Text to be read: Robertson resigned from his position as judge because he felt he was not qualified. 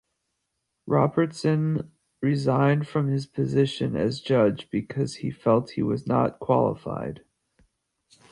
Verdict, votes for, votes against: rejected, 1, 2